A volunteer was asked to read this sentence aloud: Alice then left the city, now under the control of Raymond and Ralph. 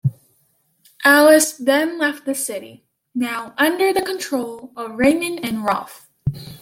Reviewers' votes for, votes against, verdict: 2, 0, accepted